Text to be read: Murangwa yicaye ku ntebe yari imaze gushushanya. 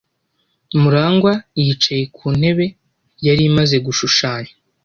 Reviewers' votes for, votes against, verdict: 2, 0, accepted